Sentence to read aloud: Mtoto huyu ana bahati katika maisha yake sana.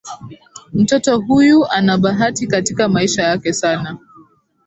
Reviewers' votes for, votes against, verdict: 4, 0, accepted